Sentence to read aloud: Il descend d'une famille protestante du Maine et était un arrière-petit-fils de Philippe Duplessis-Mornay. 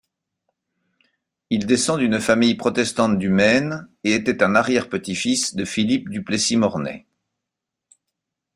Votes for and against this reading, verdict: 2, 1, accepted